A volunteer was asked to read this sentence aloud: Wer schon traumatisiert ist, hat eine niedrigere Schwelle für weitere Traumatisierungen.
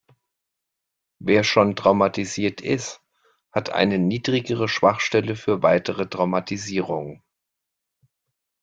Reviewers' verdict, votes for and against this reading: rejected, 1, 2